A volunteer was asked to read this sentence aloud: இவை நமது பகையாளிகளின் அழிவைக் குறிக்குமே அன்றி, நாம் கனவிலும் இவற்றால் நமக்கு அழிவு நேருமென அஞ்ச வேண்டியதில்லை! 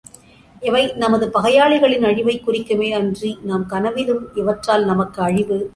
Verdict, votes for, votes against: rejected, 0, 2